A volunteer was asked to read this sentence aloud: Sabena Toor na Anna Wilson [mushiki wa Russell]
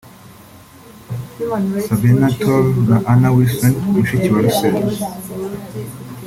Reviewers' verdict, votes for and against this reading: accepted, 2, 1